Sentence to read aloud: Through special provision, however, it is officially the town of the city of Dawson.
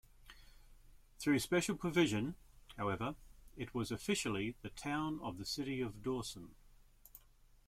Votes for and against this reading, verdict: 0, 2, rejected